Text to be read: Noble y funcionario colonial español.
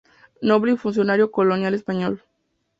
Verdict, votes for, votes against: accepted, 2, 0